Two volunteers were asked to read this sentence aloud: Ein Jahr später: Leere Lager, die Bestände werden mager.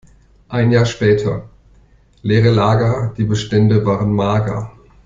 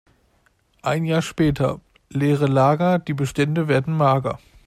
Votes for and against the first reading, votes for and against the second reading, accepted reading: 0, 2, 2, 0, second